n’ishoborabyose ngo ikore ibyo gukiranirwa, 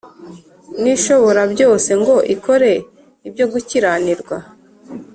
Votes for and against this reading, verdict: 2, 0, accepted